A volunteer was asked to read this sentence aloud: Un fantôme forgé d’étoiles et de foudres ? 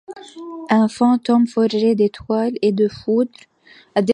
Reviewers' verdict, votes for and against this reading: rejected, 0, 2